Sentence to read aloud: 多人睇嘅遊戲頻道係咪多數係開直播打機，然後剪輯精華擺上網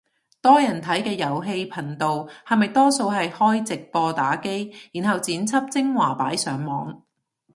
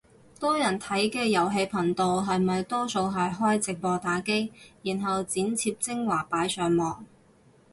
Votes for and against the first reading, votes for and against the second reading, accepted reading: 2, 0, 0, 2, first